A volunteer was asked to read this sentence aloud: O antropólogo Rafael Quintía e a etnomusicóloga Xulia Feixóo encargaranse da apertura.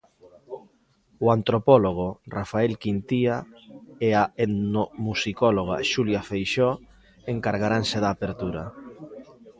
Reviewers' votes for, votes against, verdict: 0, 2, rejected